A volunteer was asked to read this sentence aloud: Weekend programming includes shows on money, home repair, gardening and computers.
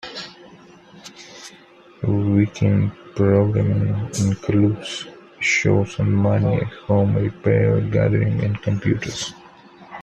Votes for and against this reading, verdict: 2, 0, accepted